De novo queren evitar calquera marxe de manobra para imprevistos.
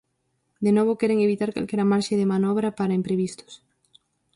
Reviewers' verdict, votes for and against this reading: accepted, 4, 0